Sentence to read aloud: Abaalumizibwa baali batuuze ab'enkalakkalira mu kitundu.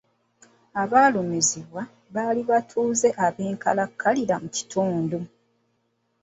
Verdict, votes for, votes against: accepted, 2, 0